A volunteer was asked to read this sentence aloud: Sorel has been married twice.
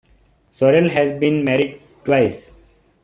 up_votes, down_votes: 2, 1